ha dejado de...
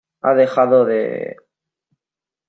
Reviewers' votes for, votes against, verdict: 2, 0, accepted